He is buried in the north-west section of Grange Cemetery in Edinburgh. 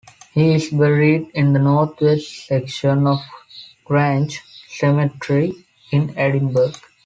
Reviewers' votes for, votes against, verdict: 2, 0, accepted